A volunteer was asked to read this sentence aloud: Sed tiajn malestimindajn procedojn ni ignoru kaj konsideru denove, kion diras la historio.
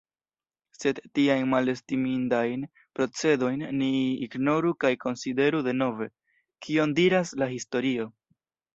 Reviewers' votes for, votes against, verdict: 2, 0, accepted